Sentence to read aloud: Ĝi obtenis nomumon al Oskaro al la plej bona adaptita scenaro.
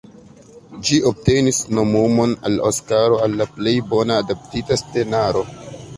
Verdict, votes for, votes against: accepted, 2, 0